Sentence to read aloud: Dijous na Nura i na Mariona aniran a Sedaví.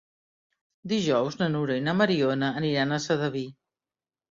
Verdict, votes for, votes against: accepted, 3, 0